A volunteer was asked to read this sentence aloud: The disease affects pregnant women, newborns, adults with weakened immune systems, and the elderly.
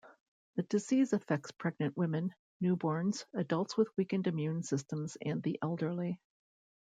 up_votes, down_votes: 2, 0